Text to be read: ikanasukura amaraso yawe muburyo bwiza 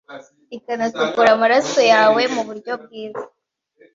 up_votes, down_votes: 2, 0